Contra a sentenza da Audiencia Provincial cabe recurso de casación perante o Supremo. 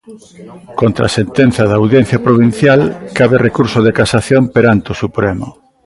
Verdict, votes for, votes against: rejected, 1, 2